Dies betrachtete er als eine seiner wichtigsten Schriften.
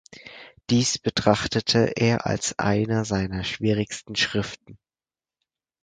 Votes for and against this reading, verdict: 2, 4, rejected